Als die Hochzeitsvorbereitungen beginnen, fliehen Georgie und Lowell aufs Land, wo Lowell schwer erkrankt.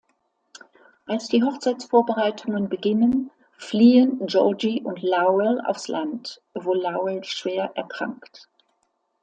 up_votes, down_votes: 2, 0